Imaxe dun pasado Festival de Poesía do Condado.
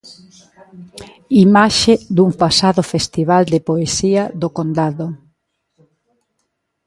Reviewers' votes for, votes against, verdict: 1, 2, rejected